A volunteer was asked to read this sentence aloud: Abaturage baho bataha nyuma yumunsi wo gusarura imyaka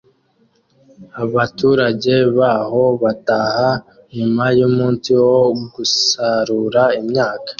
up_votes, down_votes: 2, 0